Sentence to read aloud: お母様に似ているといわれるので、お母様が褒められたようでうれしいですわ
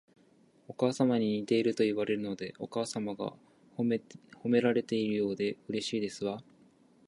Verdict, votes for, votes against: rejected, 0, 2